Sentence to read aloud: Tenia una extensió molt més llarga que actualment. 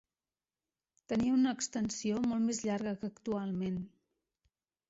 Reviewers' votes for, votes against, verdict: 2, 0, accepted